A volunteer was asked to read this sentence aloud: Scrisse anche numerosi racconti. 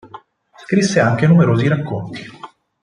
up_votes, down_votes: 4, 0